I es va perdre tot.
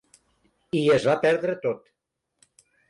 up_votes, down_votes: 3, 0